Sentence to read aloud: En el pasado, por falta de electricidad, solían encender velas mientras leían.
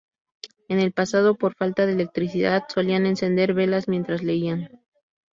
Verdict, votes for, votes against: accepted, 2, 0